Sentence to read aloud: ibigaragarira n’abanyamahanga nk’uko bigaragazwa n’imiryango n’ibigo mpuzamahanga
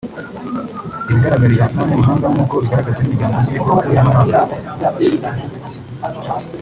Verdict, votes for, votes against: rejected, 1, 2